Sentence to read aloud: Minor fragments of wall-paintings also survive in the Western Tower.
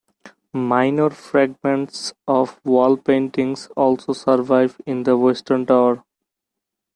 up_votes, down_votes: 1, 3